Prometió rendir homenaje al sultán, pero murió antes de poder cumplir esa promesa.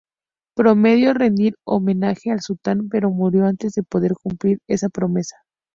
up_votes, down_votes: 2, 0